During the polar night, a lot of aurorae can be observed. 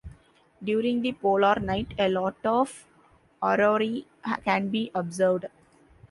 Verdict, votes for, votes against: rejected, 0, 2